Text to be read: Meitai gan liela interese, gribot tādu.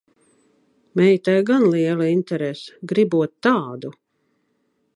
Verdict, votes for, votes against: rejected, 0, 2